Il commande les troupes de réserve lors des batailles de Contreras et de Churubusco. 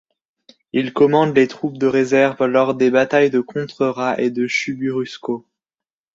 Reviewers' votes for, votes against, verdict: 1, 2, rejected